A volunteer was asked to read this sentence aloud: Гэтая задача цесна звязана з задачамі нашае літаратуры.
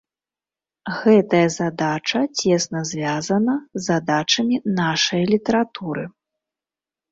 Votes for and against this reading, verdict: 2, 0, accepted